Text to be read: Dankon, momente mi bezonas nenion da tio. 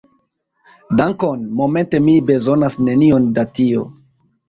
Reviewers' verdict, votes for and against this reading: accepted, 2, 0